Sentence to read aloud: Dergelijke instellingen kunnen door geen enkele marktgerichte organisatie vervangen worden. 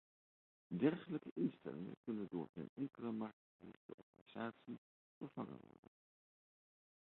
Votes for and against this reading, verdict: 0, 2, rejected